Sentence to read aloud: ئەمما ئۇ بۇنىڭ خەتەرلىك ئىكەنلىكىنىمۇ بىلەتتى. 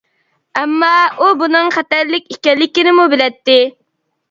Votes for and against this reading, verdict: 2, 0, accepted